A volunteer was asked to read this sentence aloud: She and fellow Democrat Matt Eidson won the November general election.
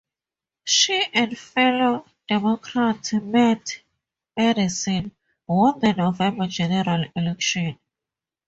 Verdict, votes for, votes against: accepted, 2, 0